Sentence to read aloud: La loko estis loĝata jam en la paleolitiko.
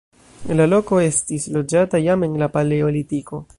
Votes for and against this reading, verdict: 1, 2, rejected